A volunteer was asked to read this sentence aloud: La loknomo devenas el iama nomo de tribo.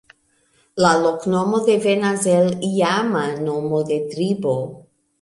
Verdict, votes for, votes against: accepted, 2, 0